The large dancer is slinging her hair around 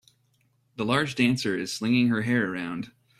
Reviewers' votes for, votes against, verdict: 2, 0, accepted